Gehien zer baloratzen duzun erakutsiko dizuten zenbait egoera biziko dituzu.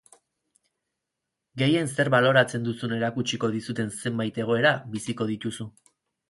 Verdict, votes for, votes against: rejected, 0, 4